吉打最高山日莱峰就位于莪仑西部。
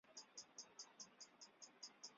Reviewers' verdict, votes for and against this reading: rejected, 0, 2